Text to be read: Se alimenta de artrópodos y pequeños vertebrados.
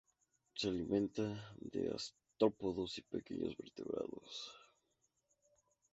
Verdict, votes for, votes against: rejected, 0, 2